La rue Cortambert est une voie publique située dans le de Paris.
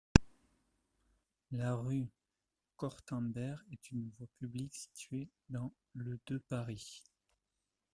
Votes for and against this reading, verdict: 0, 2, rejected